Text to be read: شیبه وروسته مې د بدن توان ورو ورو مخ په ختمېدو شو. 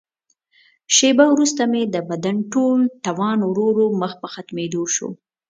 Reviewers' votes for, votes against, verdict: 0, 2, rejected